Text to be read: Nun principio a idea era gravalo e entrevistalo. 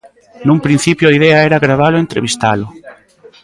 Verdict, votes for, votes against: accepted, 2, 0